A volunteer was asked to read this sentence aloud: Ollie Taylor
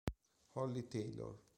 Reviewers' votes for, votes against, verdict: 2, 0, accepted